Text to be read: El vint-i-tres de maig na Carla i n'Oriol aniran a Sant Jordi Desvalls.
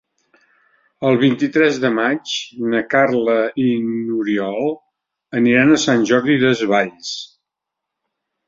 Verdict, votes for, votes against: accepted, 2, 0